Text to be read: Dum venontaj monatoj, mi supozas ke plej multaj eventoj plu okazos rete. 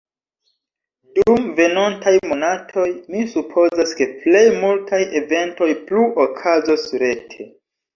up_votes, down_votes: 1, 2